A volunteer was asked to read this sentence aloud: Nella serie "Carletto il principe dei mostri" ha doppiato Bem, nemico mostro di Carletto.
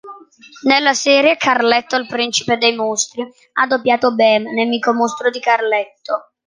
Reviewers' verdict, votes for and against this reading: accepted, 2, 0